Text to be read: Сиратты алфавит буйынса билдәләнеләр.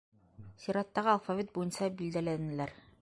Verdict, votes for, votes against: rejected, 2, 3